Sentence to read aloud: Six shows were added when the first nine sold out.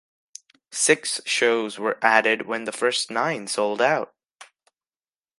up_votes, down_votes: 2, 0